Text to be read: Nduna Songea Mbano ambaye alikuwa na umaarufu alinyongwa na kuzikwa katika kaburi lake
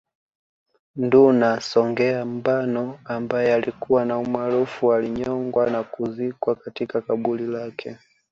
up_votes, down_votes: 2, 0